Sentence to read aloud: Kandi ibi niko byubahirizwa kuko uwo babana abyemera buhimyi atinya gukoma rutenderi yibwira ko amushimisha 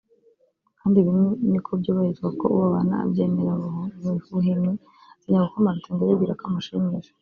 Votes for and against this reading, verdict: 0, 2, rejected